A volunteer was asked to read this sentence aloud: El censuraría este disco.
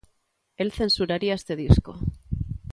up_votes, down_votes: 2, 0